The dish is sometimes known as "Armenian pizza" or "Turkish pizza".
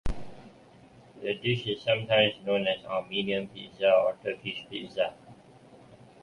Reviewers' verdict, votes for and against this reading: rejected, 1, 2